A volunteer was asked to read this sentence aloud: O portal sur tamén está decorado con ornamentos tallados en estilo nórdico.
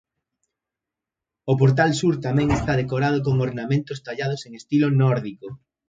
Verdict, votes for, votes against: accepted, 2, 0